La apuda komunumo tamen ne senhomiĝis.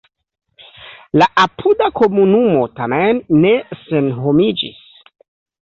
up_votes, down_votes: 2, 0